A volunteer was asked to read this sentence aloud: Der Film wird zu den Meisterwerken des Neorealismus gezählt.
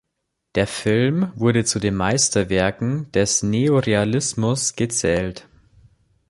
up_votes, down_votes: 1, 2